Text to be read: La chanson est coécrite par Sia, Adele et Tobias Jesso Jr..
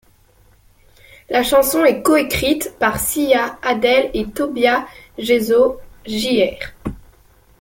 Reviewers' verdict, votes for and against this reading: rejected, 0, 2